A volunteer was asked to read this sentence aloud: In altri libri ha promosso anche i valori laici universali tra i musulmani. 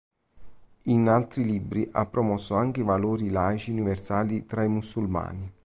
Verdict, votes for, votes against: accepted, 2, 0